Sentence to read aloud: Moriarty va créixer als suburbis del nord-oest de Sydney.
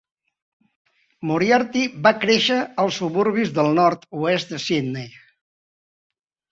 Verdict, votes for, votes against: accepted, 3, 0